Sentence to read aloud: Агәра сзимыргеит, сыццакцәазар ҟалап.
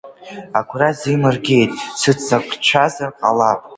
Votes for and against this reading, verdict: 1, 2, rejected